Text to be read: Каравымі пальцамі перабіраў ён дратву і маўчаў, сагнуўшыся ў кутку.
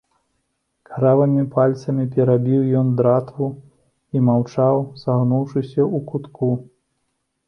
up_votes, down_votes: 0, 2